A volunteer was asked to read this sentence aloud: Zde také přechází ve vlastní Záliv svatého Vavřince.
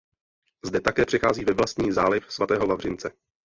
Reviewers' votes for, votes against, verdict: 1, 2, rejected